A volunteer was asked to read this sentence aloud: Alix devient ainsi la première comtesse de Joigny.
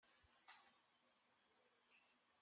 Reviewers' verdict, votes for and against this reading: rejected, 0, 2